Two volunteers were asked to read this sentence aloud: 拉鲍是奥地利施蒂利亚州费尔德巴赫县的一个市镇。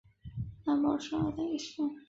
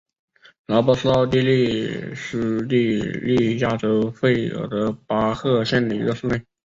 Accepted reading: second